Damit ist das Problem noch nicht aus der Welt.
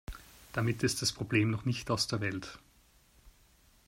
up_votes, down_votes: 2, 0